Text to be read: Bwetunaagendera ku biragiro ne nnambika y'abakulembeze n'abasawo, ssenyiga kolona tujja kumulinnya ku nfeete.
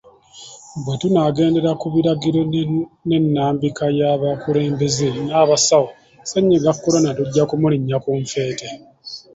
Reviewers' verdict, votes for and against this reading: accepted, 3, 1